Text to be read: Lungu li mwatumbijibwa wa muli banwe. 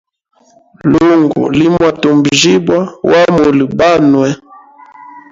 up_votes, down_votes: 0, 2